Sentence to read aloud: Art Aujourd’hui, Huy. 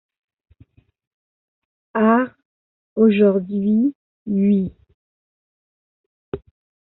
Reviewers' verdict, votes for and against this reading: accepted, 2, 0